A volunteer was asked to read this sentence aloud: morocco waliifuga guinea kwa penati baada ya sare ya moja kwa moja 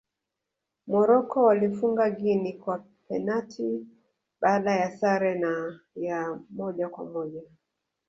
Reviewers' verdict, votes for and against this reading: rejected, 0, 2